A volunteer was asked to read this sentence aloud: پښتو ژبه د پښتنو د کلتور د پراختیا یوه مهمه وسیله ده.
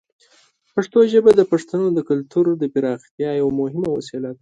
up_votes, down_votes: 2, 0